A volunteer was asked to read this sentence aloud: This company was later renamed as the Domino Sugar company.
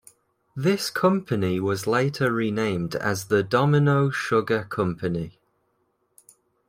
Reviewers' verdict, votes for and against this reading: accepted, 2, 0